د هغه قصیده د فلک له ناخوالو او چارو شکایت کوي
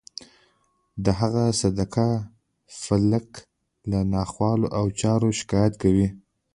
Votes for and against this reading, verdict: 0, 2, rejected